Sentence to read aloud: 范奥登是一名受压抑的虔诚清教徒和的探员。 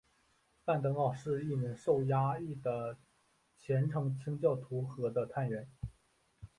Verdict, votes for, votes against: accepted, 4, 0